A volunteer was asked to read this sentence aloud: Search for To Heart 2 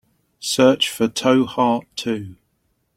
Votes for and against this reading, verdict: 0, 2, rejected